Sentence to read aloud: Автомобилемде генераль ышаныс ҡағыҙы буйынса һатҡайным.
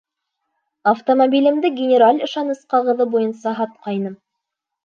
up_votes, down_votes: 2, 0